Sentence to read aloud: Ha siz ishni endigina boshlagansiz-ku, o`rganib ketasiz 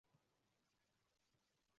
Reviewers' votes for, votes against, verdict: 0, 2, rejected